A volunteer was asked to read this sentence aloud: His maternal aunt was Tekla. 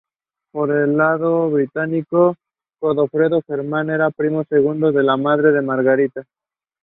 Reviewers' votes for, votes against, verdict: 0, 2, rejected